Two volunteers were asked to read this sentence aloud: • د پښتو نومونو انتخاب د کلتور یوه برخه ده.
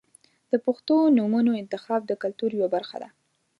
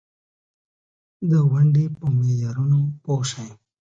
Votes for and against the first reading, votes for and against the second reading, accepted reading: 2, 0, 1, 2, first